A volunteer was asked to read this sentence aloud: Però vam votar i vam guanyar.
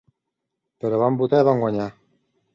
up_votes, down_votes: 2, 0